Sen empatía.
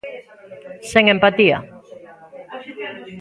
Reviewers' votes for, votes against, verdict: 2, 1, accepted